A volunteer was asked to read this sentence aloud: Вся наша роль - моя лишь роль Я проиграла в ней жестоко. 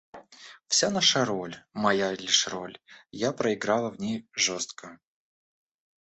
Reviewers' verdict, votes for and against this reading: rejected, 1, 2